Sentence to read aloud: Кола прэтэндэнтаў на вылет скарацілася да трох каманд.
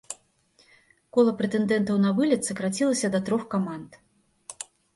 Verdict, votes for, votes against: rejected, 1, 2